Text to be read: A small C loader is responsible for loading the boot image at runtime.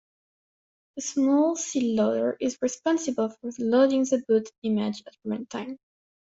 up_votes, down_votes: 1, 2